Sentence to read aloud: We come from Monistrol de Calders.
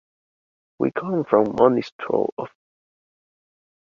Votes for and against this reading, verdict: 0, 2, rejected